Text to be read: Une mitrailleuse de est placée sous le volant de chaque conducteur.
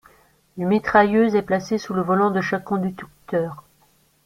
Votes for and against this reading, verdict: 1, 2, rejected